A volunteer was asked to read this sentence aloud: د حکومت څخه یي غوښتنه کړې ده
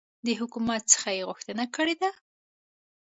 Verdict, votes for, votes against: accepted, 2, 0